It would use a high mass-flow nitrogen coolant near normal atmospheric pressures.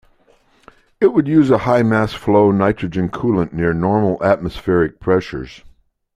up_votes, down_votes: 2, 0